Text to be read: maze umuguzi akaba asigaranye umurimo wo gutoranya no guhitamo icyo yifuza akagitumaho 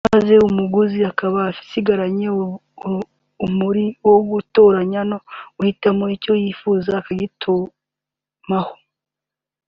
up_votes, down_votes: 1, 2